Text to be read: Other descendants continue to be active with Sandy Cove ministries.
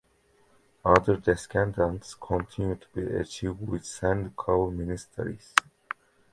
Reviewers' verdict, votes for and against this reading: rejected, 0, 2